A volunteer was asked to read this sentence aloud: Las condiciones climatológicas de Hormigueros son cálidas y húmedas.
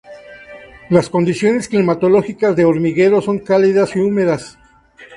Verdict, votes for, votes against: accepted, 4, 0